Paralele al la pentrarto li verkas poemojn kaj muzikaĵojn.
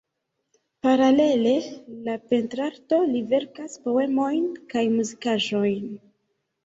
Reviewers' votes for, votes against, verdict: 0, 2, rejected